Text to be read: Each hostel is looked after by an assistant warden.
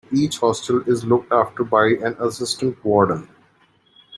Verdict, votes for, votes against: accepted, 2, 0